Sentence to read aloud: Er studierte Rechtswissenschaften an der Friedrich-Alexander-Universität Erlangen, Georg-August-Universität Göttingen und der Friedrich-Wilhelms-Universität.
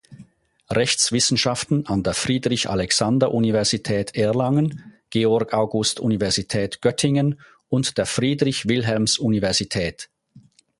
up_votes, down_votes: 0, 4